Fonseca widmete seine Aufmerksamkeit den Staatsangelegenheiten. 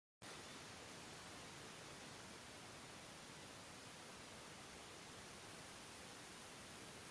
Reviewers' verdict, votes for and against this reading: rejected, 0, 2